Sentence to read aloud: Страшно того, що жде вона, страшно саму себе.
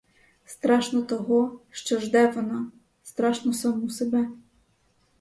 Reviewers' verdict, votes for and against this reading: accepted, 4, 0